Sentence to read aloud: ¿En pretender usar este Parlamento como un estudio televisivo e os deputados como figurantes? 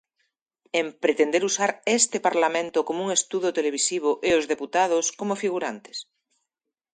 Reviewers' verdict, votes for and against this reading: rejected, 1, 2